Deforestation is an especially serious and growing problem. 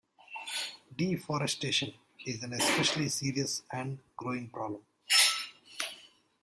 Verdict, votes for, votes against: accepted, 2, 0